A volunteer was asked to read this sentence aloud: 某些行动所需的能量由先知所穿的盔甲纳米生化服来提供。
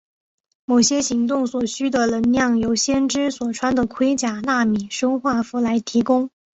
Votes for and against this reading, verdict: 2, 0, accepted